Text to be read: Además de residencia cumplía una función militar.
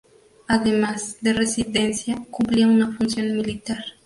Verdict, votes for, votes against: rejected, 2, 2